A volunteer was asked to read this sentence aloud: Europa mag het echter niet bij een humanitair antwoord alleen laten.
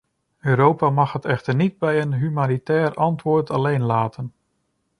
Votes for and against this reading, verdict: 2, 0, accepted